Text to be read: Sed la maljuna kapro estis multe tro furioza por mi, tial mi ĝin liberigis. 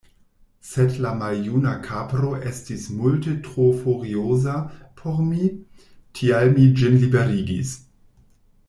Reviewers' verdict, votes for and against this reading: accepted, 2, 0